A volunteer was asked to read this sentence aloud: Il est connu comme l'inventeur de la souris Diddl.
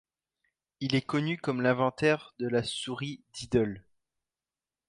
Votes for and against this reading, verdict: 0, 2, rejected